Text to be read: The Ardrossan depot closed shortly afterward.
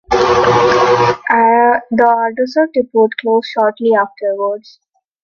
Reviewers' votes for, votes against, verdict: 0, 2, rejected